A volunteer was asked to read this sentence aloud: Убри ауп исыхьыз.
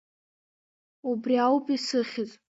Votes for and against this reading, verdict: 1, 2, rejected